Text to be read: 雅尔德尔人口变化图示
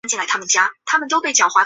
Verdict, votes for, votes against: rejected, 1, 2